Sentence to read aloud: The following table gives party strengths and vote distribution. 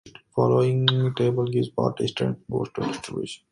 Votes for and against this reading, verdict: 0, 2, rejected